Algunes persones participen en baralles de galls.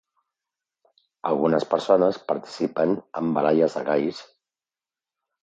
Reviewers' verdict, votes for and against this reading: accepted, 2, 0